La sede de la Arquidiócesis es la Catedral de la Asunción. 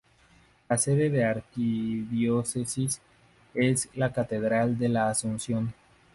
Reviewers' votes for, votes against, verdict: 0, 2, rejected